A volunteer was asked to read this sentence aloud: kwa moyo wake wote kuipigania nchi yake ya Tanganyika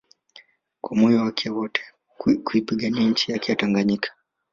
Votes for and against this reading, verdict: 2, 1, accepted